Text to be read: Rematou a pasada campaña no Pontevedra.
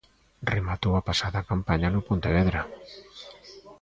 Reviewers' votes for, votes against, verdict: 1, 2, rejected